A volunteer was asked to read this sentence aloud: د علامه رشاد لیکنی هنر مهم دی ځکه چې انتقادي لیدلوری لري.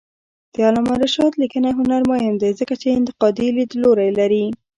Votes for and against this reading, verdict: 0, 2, rejected